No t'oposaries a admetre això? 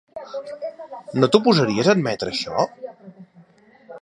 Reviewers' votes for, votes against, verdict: 0, 2, rejected